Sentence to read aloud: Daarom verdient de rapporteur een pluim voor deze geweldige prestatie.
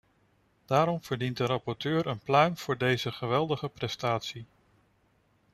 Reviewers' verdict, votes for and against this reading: accepted, 2, 0